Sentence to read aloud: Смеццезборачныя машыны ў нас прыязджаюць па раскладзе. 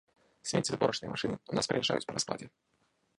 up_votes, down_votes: 0, 2